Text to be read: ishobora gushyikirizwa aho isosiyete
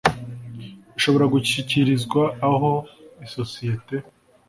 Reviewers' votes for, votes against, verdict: 2, 0, accepted